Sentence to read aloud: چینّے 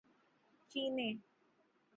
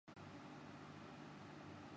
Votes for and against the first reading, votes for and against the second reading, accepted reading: 9, 0, 0, 2, first